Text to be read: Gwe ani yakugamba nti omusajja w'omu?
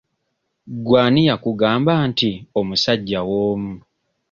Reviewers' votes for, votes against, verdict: 2, 0, accepted